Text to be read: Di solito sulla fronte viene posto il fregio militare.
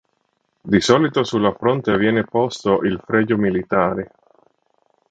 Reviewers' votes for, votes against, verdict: 3, 0, accepted